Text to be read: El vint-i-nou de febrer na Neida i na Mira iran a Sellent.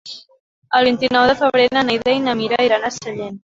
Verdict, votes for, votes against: rejected, 0, 2